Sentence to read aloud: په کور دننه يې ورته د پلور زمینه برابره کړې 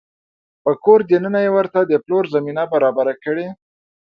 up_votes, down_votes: 2, 0